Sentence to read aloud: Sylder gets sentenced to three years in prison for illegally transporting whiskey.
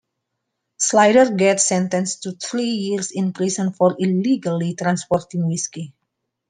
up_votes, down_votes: 2, 1